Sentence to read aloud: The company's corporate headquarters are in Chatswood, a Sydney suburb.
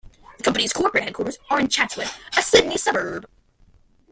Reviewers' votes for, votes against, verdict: 1, 2, rejected